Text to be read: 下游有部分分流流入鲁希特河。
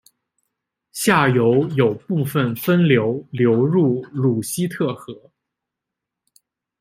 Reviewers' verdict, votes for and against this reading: accepted, 2, 0